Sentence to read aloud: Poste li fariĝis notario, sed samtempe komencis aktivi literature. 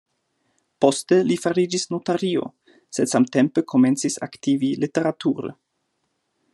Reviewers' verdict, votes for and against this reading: accepted, 2, 0